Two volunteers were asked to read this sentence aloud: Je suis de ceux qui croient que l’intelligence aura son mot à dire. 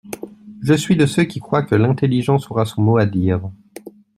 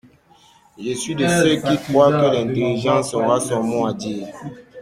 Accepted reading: first